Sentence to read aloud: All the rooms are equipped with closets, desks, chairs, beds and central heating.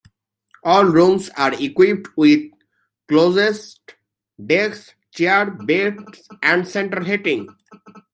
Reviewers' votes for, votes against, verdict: 0, 2, rejected